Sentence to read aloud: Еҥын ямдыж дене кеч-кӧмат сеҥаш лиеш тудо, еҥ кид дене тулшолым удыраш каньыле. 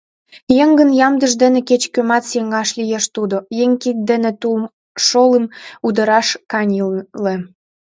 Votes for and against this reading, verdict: 0, 2, rejected